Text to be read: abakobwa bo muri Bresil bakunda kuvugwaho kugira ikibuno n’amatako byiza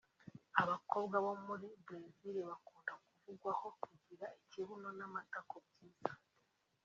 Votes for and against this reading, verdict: 2, 0, accepted